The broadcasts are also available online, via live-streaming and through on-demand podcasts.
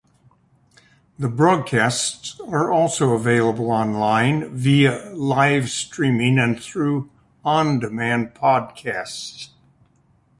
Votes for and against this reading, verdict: 2, 0, accepted